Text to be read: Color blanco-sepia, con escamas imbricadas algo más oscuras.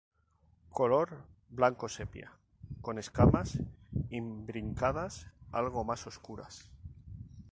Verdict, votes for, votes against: rejected, 2, 2